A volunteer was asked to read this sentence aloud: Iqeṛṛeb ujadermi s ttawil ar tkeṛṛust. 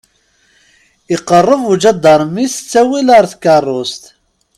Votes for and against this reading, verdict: 2, 0, accepted